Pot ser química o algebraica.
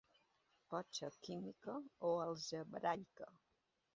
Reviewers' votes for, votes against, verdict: 2, 0, accepted